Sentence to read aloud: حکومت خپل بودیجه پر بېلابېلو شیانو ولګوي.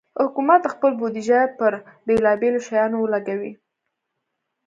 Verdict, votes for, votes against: accepted, 2, 0